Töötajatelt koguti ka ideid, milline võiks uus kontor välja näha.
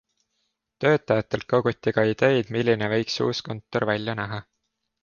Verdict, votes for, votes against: accepted, 2, 0